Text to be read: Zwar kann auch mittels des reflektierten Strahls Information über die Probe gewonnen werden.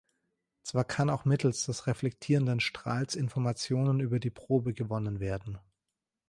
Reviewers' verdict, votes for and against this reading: rejected, 0, 2